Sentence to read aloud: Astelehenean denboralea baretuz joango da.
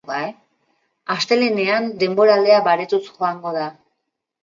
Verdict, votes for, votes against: accepted, 2, 1